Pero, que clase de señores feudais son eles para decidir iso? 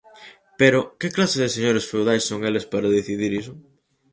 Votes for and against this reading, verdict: 2, 2, rejected